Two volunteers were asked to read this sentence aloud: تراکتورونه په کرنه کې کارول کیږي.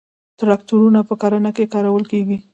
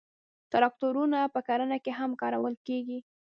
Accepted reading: first